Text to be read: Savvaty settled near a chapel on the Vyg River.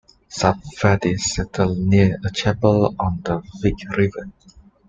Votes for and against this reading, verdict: 2, 0, accepted